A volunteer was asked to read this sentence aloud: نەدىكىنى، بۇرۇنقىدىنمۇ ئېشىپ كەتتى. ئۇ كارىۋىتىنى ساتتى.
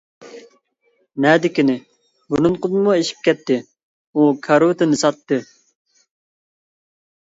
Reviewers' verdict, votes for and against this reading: rejected, 1, 2